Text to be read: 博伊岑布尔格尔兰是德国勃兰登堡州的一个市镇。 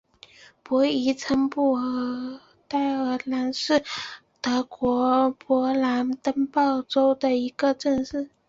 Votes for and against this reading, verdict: 0, 3, rejected